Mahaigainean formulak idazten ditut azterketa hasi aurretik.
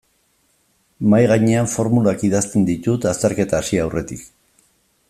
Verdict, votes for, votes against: accepted, 2, 0